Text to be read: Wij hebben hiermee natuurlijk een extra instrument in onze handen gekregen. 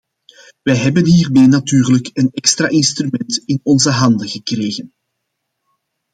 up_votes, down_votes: 2, 0